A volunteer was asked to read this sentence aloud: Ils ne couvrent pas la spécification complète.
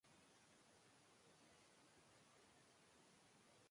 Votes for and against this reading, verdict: 0, 2, rejected